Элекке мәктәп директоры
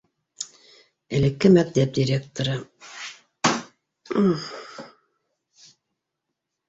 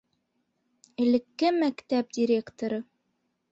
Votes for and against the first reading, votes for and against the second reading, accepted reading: 2, 4, 2, 0, second